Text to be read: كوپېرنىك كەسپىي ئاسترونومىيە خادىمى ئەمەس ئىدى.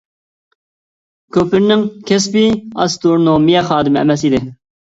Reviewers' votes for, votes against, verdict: 0, 2, rejected